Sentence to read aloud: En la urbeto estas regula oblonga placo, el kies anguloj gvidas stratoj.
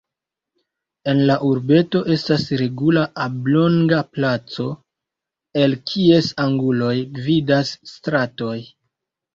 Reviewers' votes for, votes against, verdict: 2, 0, accepted